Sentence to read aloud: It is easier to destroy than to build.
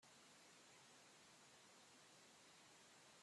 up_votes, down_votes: 0, 2